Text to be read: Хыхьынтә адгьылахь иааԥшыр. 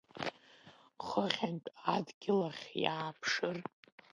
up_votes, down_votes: 0, 2